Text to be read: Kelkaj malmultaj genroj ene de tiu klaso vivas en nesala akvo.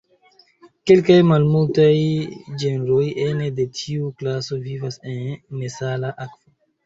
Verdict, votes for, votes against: rejected, 0, 2